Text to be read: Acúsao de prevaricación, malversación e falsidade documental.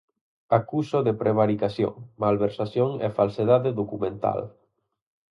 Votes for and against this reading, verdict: 0, 4, rejected